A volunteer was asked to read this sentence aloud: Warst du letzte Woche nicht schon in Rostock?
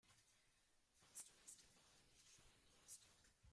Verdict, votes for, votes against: rejected, 0, 2